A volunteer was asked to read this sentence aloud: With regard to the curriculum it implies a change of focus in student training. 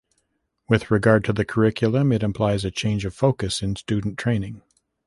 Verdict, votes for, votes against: accepted, 2, 0